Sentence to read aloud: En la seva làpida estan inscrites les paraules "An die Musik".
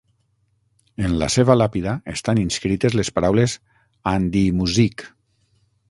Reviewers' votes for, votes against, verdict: 9, 3, accepted